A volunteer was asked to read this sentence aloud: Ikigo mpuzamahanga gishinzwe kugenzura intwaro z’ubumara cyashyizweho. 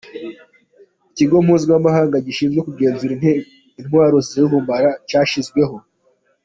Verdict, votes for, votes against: rejected, 0, 2